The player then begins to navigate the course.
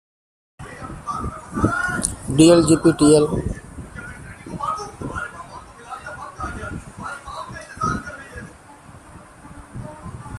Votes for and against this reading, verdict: 0, 2, rejected